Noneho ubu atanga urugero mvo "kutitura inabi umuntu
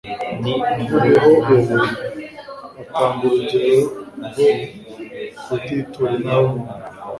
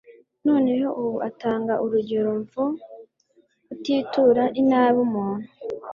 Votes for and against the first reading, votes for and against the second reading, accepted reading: 0, 2, 2, 0, second